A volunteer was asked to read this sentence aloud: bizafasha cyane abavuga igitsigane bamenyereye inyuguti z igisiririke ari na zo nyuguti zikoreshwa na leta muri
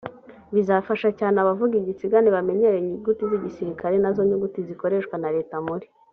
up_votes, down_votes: 2, 0